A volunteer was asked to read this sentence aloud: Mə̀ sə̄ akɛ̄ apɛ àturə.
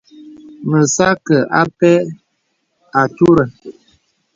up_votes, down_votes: 2, 0